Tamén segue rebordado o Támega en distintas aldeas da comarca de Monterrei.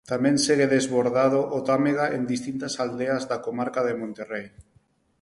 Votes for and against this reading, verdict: 4, 0, accepted